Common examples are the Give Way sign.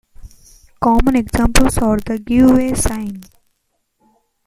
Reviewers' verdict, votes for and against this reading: accepted, 2, 1